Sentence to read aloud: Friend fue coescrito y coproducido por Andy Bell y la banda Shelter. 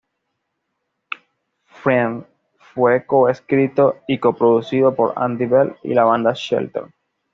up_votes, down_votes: 2, 1